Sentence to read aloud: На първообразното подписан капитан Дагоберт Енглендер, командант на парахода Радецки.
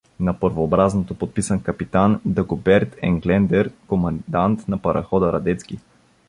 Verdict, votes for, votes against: rejected, 1, 2